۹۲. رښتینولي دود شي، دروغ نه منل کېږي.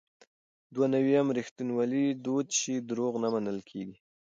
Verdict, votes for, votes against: rejected, 0, 2